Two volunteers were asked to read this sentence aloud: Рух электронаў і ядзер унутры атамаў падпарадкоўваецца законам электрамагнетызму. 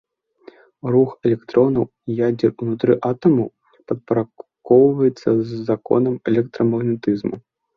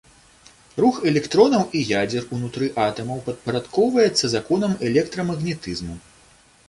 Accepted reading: second